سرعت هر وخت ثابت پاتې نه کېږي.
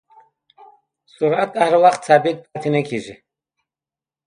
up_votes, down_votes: 2, 0